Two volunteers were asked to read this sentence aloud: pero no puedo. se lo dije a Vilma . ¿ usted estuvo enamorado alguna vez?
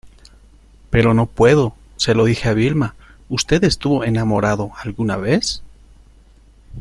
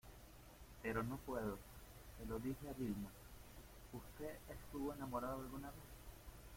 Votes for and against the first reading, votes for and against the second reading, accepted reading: 2, 0, 0, 2, first